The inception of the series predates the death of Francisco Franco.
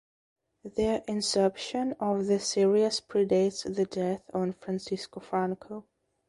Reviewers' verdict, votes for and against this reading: rejected, 1, 3